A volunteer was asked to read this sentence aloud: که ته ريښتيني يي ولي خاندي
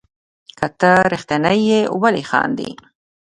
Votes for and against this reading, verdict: 2, 0, accepted